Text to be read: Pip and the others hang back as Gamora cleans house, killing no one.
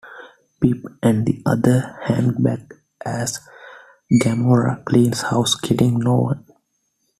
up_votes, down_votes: 0, 2